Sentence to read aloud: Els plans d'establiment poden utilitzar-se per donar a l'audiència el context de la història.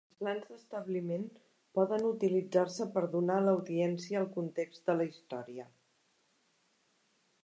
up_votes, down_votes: 1, 2